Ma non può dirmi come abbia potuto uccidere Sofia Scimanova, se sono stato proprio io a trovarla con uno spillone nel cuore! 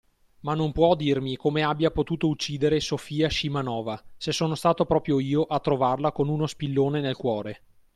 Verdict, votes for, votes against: accepted, 3, 0